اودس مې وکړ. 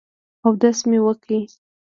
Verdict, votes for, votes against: accepted, 2, 0